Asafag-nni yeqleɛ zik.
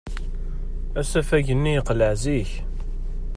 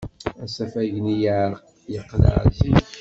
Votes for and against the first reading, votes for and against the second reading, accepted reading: 2, 0, 1, 2, first